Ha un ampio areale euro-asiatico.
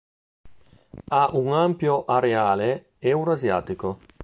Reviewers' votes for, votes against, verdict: 3, 0, accepted